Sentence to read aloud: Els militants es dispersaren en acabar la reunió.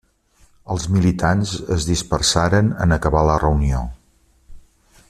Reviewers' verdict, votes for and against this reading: accepted, 3, 0